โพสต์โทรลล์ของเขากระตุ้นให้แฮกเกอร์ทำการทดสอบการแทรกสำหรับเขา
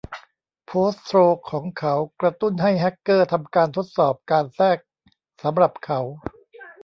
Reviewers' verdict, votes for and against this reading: rejected, 1, 2